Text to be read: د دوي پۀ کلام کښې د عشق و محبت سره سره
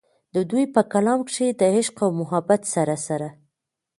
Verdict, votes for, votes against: rejected, 0, 2